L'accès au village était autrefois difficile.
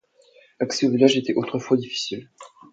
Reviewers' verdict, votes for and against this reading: accepted, 2, 0